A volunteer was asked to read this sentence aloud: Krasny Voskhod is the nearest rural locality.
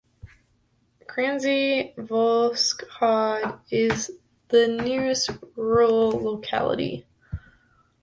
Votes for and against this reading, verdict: 0, 2, rejected